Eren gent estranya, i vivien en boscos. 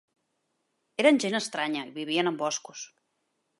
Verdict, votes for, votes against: accepted, 2, 1